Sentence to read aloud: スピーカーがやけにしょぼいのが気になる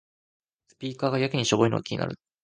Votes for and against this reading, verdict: 2, 1, accepted